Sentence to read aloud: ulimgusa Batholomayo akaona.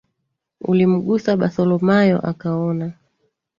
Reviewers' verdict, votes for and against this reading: accepted, 2, 1